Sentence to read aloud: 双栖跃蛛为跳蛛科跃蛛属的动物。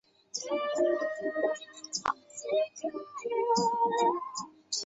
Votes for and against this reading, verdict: 0, 4, rejected